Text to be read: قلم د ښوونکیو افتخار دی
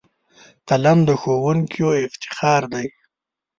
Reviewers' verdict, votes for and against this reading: accepted, 2, 0